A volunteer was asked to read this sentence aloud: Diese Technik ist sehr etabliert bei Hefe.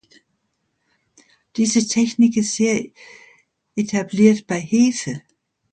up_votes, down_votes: 2, 0